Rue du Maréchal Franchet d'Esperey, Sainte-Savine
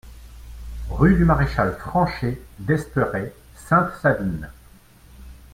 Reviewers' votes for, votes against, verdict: 2, 1, accepted